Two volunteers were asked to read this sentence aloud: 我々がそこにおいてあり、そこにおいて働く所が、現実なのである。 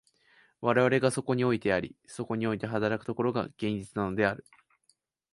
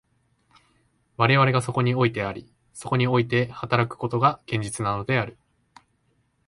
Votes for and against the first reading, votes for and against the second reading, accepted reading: 2, 0, 1, 2, first